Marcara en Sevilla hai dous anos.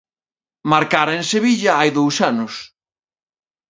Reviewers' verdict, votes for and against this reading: accepted, 2, 0